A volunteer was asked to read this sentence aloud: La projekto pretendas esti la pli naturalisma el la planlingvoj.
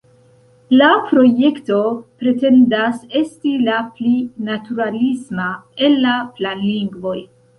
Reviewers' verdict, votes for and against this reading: accepted, 2, 0